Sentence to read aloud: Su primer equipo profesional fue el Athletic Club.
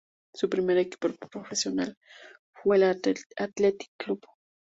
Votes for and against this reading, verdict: 0, 2, rejected